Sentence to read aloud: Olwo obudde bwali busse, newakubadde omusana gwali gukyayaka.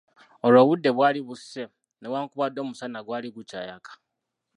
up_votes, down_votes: 0, 2